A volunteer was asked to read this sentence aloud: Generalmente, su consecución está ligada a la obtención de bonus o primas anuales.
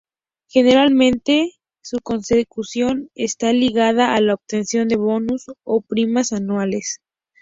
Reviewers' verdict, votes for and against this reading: accepted, 2, 0